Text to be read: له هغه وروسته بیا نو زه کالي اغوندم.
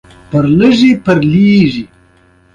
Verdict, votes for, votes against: accepted, 2, 0